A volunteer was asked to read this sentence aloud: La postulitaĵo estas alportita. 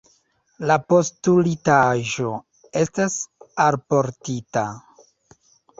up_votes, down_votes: 2, 1